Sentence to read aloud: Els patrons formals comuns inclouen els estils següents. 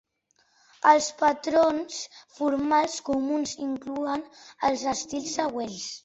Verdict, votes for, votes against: rejected, 1, 2